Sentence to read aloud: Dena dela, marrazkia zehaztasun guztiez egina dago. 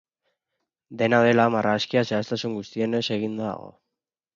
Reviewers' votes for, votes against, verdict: 0, 6, rejected